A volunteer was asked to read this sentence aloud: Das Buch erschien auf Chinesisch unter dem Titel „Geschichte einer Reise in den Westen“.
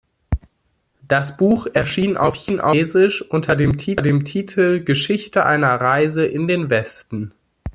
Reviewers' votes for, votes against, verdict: 0, 2, rejected